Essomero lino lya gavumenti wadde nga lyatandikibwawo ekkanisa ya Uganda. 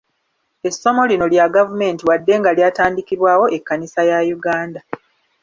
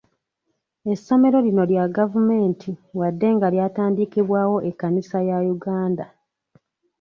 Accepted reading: second